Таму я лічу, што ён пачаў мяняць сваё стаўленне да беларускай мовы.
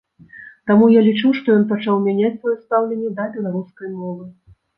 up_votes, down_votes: 1, 2